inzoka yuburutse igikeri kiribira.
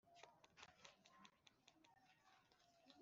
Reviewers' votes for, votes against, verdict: 1, 2, rejected